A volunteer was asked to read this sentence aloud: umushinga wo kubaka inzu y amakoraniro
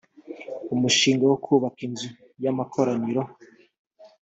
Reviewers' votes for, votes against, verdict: 2, 0, accepted